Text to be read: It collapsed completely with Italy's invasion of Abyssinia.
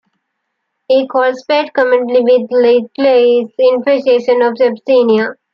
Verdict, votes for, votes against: rejected, 0, 2